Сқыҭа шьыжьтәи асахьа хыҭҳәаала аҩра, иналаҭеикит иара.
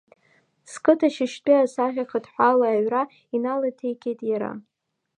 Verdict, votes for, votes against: accepted, 2, 1